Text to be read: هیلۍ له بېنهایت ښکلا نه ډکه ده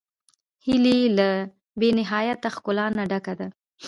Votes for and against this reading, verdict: 1, 2, rejected